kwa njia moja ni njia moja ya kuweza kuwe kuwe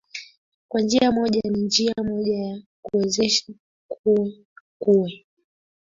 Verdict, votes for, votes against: rejected, 2, 3